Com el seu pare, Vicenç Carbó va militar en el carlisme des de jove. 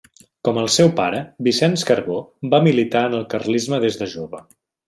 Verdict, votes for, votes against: accepted, 2, 0